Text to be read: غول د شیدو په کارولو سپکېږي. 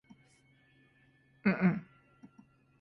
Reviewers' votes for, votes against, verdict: 0, 2, rejected